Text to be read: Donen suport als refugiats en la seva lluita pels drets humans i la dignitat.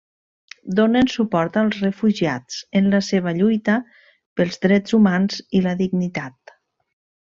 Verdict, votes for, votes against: accepted, 3, 0